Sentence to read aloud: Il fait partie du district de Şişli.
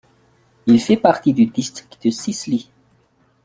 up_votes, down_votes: 2, 1